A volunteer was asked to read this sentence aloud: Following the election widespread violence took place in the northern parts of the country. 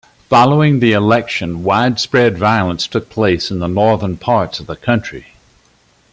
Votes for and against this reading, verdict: 2, 0, accepted